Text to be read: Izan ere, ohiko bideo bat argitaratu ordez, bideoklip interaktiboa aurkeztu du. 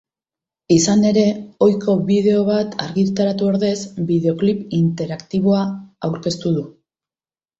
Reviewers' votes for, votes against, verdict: 3, 0, accepted